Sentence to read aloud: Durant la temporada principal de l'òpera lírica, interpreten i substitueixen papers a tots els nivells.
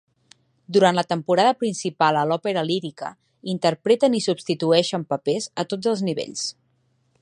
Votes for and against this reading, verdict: 0, 2, rejected